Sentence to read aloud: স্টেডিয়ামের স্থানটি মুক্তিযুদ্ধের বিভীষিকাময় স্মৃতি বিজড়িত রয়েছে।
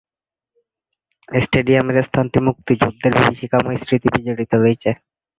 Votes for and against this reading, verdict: 3, 4, rejected